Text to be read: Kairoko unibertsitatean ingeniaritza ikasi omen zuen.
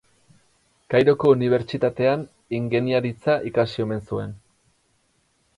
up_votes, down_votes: 2, 0